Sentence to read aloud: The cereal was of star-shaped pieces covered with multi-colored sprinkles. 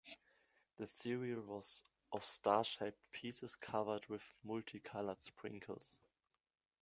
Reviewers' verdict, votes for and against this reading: accepted, 2, 1